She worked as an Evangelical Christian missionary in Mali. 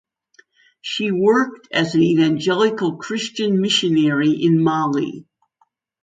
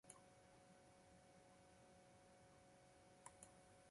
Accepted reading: first